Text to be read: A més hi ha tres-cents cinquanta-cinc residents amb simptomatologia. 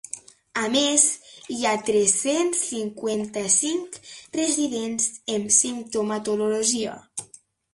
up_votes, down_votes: 2, 0